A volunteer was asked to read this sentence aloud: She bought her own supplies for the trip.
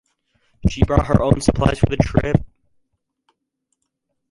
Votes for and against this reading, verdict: 0, 4, rejected